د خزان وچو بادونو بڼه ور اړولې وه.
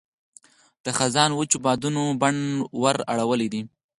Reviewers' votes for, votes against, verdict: 2, 4, rejected